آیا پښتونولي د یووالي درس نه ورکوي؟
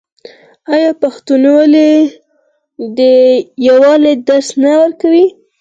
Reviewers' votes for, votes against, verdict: 4, 2, accepted